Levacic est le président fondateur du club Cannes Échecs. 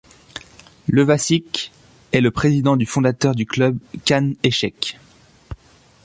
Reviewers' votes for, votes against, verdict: 0, 3, rejected